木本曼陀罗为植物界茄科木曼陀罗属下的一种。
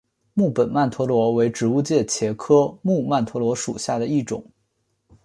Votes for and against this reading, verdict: 2, 1, accepted